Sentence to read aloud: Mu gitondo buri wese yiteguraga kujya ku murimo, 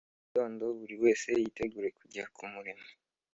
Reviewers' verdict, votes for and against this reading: accepted, 3, 0